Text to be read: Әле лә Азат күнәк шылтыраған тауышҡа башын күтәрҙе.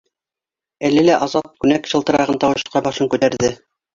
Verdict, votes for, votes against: rejected, 1, 2